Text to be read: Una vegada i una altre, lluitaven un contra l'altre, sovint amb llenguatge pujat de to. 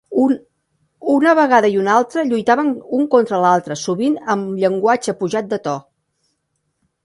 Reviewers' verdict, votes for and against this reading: rejected, 1, 3